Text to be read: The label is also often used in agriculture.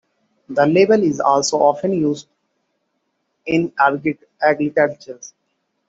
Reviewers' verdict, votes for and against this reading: rejected, 0, 2